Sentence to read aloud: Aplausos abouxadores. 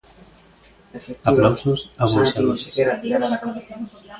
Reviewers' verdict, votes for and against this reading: accepted, 2, 0